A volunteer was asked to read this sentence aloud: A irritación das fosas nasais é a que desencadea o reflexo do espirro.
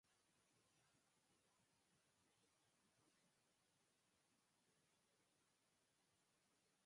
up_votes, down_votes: 0, 4